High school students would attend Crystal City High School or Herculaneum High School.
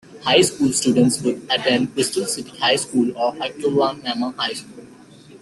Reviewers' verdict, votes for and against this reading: rejected, 0, 2